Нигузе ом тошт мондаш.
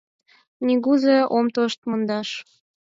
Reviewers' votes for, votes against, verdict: 4, 0, accepted